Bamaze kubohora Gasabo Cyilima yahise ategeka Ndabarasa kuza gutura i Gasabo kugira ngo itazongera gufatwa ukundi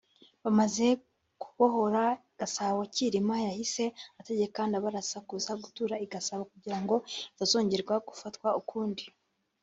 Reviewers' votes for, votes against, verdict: 1, 2, rejected